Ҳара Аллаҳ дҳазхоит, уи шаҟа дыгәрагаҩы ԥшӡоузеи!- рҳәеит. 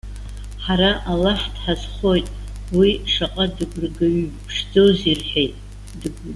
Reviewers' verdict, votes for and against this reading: rejected, 1, 2